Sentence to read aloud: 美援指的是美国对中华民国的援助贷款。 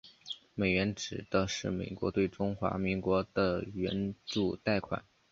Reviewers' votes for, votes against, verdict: 6, 0, accepted